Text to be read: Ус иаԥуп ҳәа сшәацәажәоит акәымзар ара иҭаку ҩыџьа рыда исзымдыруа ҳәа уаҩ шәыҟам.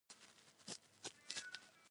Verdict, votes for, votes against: rejected, 0, 2